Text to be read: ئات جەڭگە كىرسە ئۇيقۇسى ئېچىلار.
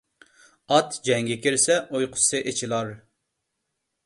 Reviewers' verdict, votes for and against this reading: accepted, 2, 0